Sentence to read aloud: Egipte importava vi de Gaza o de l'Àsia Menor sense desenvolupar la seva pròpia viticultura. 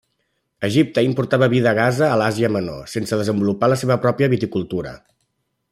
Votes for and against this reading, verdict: 2, 0, accepted